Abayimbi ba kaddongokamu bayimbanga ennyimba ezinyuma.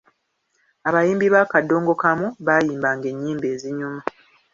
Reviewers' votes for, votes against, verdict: 2, 0, accepted